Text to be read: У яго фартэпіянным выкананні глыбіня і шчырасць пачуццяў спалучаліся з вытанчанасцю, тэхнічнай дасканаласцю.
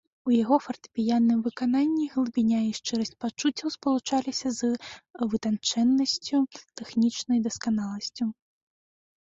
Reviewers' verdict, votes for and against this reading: rejected, 0, 3